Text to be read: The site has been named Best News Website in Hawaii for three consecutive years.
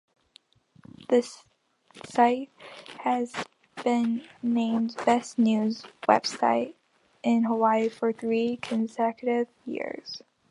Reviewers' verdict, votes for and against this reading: rejected, 1, 2